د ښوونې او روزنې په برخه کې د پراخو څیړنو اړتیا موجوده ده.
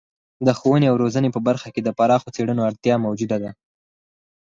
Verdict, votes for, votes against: accepted, 6, 2